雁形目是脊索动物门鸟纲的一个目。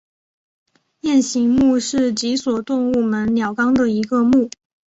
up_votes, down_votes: 3, 0